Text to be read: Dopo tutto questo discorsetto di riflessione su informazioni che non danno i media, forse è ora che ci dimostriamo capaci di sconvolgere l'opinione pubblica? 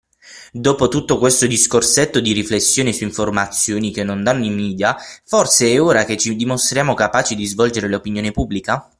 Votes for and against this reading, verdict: 3, 6, rejected